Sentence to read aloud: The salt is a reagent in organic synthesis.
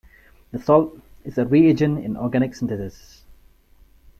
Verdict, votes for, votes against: accepted, 2, 0